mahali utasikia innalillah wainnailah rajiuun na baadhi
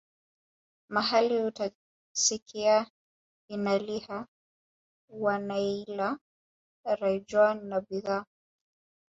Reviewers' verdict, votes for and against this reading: rejected, 1, 3